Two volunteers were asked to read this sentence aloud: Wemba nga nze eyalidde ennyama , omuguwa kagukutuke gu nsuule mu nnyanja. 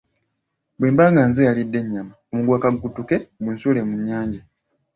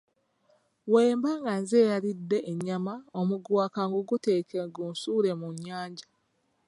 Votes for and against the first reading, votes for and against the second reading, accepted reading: 2, 0, 1, 2, first